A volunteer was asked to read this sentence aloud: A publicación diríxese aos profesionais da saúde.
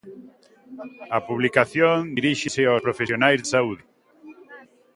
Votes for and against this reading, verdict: 1, 2, rejected